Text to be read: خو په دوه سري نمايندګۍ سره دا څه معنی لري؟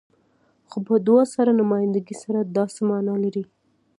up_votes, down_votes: 2, 0